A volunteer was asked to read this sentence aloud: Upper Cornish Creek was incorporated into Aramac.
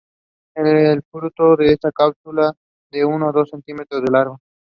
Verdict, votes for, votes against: rejected, 0, 3